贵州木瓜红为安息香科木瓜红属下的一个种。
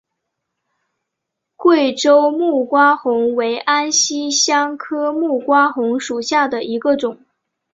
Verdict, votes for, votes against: accepted, 3, 0